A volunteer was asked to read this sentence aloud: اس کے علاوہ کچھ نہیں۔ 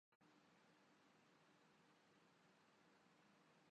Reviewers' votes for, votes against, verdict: 0, 2, rejected